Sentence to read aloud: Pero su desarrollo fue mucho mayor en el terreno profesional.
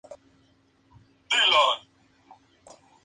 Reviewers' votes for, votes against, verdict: 0, 2, rejected